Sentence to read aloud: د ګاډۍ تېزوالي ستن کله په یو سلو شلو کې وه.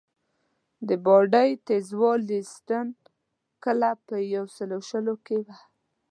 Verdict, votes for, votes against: accepted, 2, 0